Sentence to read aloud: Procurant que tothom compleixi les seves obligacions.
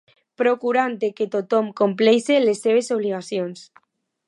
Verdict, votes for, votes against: rejected, 0, 2